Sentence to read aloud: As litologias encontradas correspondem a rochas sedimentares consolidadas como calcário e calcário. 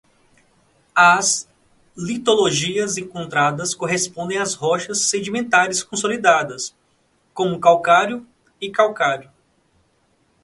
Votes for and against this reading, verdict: 0, 2, rejected